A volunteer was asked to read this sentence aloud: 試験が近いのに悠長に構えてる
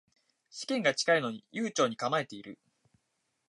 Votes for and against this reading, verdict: 1, 2, rejected